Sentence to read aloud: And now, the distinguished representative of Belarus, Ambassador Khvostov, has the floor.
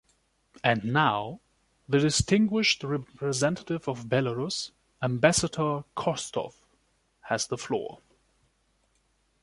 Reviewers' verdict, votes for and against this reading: rejected, 1, 2